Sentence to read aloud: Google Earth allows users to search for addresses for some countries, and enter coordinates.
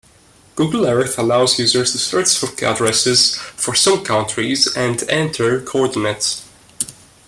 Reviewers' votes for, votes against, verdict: 2, 0, accepted